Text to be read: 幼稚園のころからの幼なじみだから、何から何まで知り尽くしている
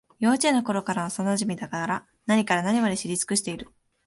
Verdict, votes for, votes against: rejected, 1, 2